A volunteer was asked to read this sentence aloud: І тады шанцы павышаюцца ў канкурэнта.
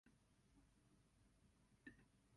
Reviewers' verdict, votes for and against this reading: rejected, 1, 3